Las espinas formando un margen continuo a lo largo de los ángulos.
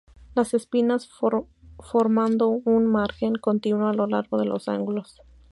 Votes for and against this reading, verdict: 0, 2, rejected